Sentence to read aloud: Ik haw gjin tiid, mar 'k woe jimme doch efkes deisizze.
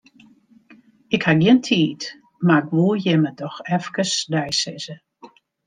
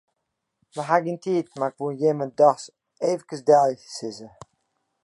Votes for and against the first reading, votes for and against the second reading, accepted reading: 2, 1, 1, 2, first